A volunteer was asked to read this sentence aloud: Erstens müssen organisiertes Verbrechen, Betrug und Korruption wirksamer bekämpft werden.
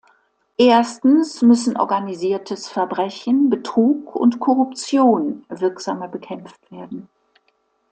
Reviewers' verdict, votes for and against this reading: accepted, 2, 0